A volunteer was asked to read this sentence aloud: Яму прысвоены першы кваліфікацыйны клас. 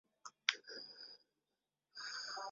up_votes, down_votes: 0, 2